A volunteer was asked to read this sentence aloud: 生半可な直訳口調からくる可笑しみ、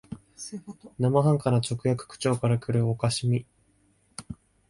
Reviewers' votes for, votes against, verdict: 2, 0, accepted